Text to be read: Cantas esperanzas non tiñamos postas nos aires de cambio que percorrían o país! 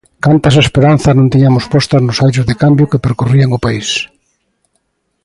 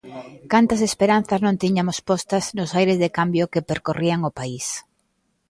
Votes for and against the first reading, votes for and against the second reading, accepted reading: 2, 1, 1, 2, first